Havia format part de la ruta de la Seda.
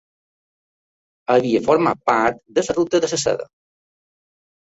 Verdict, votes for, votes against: rejected, 0, 2